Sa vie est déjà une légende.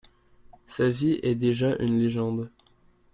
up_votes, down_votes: 2, 0